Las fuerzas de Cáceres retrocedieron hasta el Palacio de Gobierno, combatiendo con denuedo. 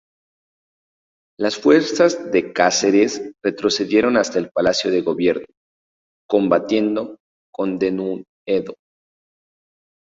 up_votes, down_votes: 2, 0